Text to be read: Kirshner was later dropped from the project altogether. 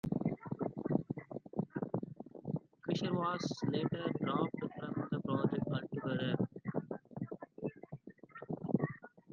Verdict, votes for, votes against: rejected, 1, 2